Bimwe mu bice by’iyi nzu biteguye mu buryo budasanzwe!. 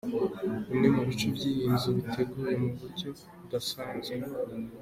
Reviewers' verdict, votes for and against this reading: accepted, 2, 0